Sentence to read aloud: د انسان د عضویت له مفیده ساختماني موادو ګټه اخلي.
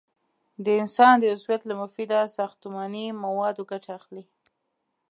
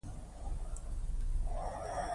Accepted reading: first